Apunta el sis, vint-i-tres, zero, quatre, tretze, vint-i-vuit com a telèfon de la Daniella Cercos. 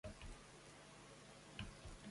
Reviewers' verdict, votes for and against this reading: rejected, 0, 2